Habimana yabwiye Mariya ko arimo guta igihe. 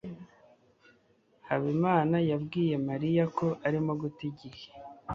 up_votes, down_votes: 2, 0